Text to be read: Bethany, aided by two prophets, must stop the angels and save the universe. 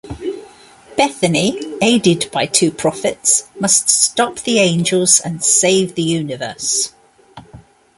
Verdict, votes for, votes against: accepted, 2, 0